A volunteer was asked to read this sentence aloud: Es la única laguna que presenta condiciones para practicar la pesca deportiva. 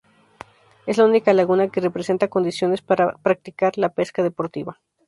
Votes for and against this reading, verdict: 0, 2, rejected